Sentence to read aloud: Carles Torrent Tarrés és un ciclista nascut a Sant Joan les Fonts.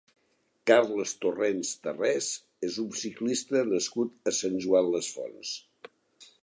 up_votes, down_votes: 1, 2